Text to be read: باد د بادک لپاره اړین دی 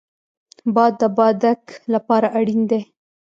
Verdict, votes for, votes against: rejected, 0, 2